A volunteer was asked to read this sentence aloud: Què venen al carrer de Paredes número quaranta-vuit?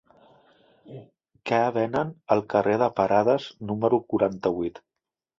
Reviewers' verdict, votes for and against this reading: rejected, 0, 2